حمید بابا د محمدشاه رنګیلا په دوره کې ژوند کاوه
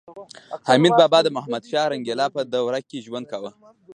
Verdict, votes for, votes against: rejected, 1, 2